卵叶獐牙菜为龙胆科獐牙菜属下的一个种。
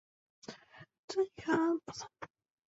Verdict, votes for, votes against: rejected, 0, 3